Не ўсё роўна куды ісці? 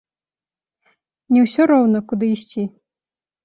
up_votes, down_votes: 2, 1